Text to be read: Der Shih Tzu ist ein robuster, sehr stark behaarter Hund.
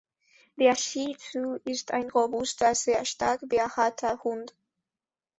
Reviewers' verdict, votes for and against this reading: rejected, 1, 2